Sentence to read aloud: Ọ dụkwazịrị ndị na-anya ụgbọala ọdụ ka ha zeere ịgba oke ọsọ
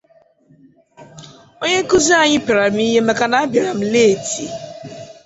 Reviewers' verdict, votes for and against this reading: rejected, 0, 2